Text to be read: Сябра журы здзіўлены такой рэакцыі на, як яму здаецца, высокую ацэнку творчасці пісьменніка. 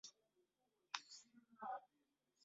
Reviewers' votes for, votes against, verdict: 0, 2, rejected